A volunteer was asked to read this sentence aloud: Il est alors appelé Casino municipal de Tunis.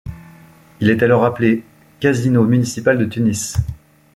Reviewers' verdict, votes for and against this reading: accepted, 2, 1